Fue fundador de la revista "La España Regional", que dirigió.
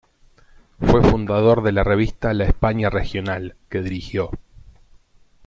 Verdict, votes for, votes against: accepted, 3, 0